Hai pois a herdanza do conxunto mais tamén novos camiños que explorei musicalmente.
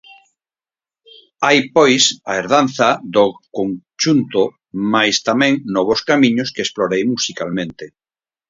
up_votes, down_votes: 2, 2